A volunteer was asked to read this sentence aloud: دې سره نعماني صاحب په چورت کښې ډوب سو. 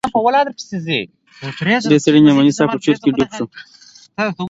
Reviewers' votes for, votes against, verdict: 0, 2, rejected